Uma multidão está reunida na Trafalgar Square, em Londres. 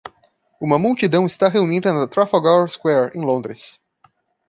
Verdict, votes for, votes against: accepted, 2, 0